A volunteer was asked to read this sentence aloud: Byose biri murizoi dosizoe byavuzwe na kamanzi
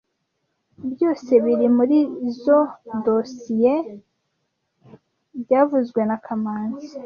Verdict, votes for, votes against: accepted, 2, 0